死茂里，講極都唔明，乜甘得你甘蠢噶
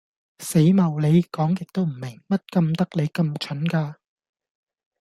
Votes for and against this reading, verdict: 2, 0, accepted